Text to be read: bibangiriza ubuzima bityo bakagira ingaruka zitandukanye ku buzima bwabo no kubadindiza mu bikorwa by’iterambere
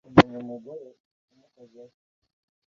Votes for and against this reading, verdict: 0, 2, rejected